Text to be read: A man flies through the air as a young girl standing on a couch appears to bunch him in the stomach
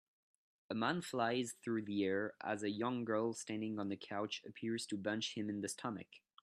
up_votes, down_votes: 2, 1